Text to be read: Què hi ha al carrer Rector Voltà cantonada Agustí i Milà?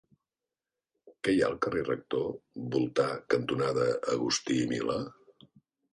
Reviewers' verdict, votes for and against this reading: accepted, 3, 1